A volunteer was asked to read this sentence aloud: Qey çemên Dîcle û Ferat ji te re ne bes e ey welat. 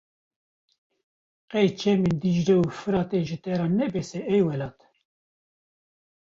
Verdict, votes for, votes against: rejected, 1, 2